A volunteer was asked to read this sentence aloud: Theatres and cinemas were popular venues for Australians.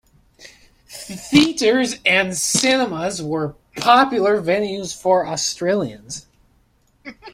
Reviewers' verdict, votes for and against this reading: accepted, 3, 2